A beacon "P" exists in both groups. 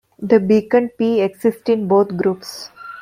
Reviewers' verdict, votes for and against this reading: rejected, 0, 2